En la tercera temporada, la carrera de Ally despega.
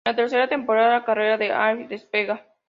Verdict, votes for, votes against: accepted, 2, 0